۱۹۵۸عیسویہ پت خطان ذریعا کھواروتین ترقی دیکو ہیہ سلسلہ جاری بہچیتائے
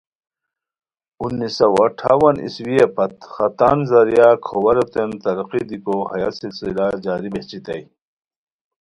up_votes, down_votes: 0, 2